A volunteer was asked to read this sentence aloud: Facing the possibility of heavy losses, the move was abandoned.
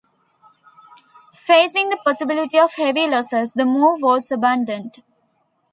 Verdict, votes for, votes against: accepted, 2, 0